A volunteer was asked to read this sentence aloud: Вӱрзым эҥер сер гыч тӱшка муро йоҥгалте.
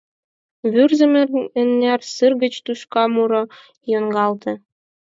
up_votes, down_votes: 0, 4